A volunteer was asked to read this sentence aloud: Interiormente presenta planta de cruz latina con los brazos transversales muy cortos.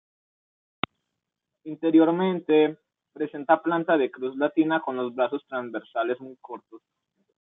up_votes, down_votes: 2, 0